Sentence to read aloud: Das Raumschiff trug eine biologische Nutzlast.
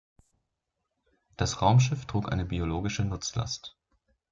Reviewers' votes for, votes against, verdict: 2, 0, accepted